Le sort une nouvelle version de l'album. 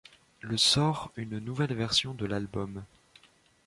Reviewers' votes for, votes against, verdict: 2, 1, accepted